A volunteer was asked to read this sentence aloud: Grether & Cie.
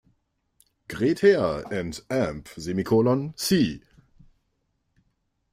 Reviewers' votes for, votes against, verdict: 1, 2, rejected